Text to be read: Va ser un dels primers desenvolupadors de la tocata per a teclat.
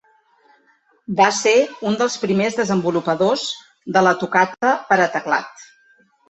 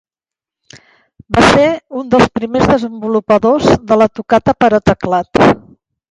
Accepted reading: first